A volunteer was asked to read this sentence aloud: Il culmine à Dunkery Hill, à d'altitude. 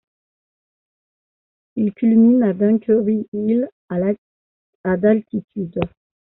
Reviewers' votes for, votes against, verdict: 0, 2, rejected